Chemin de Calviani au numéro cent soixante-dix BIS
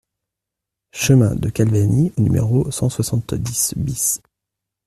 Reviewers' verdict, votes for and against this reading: rejected, 0, 2